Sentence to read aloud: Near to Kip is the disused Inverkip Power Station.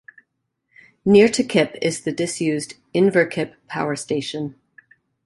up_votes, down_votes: 2, 0